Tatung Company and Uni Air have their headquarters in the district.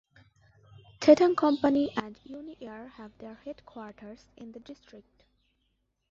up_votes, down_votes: 2, 1